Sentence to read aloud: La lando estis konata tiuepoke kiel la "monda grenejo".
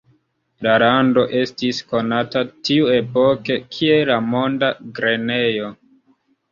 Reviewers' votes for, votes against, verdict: 0, 2, rejected